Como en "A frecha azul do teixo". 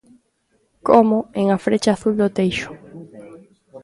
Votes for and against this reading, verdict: 2, 1, accepted